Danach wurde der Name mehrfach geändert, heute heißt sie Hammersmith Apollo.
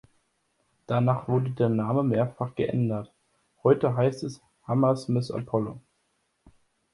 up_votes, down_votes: 0, 2